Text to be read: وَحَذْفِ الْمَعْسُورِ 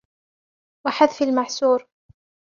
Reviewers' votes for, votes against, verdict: 1, 2, rejected